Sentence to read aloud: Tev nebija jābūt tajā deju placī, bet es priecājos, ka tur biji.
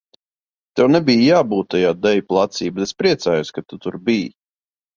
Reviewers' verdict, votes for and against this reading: rejected, 1, 2